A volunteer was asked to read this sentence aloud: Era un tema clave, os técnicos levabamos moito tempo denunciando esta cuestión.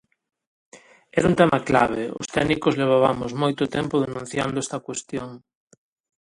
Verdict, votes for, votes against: accepted, 2, 0